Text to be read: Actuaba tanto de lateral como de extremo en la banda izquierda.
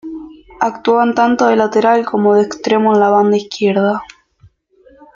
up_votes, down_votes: 0, 2